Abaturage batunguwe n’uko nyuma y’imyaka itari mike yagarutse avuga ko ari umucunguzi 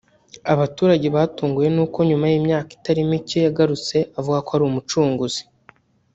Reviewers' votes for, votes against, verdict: 1, 2, rejected